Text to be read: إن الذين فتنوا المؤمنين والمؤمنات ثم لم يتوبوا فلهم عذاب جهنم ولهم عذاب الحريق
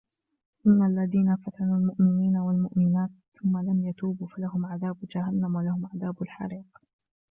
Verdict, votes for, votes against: rejected, 0, 2